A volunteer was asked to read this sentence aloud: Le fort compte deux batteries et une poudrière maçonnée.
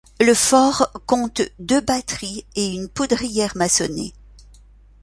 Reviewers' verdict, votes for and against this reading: accepted, 2, 0